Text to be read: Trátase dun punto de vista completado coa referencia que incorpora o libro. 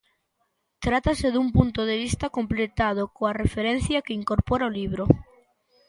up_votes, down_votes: 2, 0